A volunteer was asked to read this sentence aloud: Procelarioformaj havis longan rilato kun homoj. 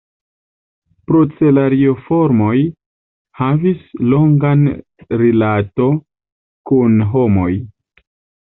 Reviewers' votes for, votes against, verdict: 1, 2, rejected